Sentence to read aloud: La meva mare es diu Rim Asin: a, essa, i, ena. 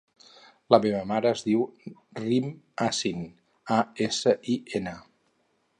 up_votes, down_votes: 0, 2